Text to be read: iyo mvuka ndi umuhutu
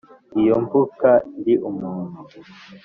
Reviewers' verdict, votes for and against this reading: accepted, 2, 1